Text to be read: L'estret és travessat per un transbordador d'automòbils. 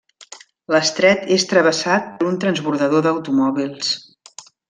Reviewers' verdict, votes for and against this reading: rejected, 0, 2